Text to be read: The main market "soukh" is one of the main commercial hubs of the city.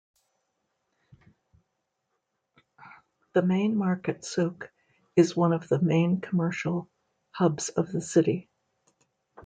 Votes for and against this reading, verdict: 2, 0, accepted